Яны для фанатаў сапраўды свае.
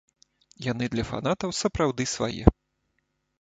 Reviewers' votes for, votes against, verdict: 2, 0, accepted